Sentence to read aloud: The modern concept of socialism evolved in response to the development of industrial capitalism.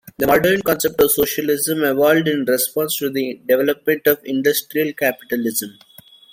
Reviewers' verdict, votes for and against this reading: rejected, 0, 2